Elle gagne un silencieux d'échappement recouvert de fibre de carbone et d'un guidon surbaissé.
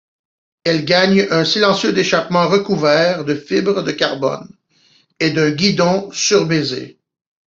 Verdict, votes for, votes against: rejected, 0, 2